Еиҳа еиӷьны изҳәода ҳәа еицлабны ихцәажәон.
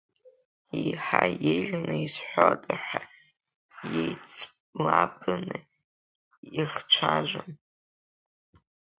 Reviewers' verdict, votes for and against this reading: rejected, 1, 3